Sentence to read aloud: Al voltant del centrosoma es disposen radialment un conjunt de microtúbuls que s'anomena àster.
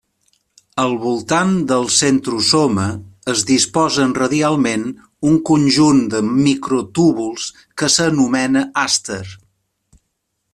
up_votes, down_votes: 2, 0